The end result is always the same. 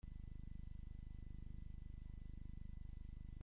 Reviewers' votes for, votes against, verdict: 0, 2, rejected